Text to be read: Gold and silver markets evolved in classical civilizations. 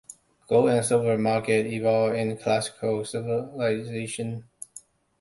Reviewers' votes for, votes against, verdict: 1, 2, rejected